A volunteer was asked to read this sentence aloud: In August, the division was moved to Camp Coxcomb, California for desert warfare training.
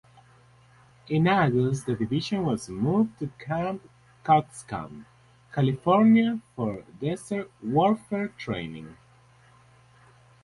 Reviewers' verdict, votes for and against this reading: accepted, 6, 0